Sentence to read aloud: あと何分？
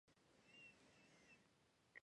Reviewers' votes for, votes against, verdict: 1, 2, rejected